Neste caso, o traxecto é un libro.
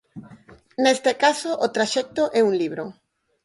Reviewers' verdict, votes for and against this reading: accepted, 4, 0